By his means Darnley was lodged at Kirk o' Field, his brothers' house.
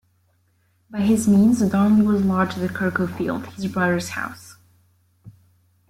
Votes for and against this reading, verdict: 0, 2, rejected